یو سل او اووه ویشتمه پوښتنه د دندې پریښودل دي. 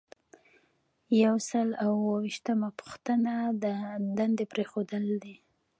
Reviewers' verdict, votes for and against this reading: rejected, 1, 2